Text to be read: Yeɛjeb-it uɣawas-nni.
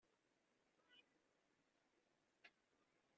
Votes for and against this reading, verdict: 1, 2, rejected